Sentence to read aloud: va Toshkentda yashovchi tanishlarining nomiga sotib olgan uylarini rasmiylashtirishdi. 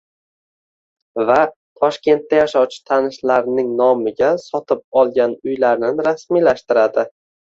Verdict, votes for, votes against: rejected, 0, 2